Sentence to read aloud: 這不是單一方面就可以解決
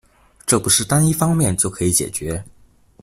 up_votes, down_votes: 2, 0